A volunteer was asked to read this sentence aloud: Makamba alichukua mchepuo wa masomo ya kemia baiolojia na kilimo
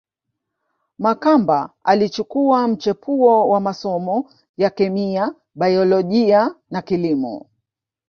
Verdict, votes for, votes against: rejected, 1, 2